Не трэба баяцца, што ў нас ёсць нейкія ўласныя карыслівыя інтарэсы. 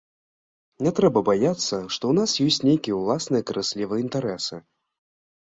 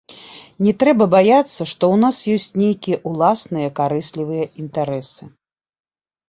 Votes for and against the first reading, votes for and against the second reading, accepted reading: 0, 2, 2, 0, second